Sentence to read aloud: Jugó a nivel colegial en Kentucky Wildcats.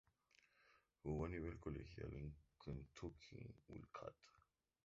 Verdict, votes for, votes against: rejected, 0, 4